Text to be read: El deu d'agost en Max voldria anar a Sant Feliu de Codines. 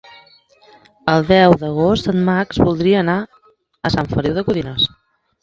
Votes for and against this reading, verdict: 2, 1, accepted